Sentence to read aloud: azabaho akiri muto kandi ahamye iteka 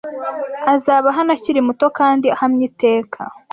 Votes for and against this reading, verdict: 1, 2, rejected